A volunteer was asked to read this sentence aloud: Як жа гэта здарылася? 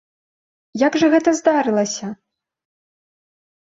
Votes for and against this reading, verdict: 3, 0, accepted